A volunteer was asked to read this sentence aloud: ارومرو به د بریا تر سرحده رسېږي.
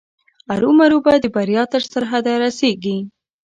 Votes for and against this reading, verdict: 2, 0, accepted